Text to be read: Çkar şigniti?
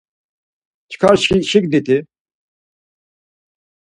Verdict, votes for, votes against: rejected, 2, 4